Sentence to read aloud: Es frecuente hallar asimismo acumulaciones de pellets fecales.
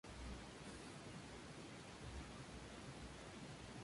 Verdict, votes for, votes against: rejected, 0, 2